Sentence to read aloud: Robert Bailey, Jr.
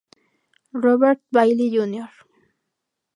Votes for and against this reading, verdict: 2, 0, accepted